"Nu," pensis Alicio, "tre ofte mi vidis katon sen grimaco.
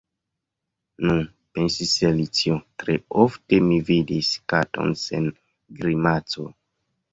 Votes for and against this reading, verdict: 0, 2, rejected